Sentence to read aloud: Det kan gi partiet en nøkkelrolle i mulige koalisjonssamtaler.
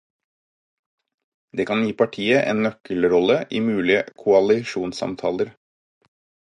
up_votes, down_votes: 4, 0